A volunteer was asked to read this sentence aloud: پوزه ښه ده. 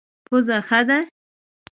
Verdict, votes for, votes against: accepted, 2, 0